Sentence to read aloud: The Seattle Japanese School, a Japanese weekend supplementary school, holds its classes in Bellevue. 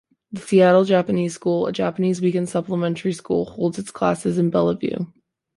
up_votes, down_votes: 2, 0